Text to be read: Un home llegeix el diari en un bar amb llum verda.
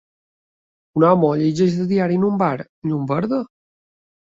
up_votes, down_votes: 2, 0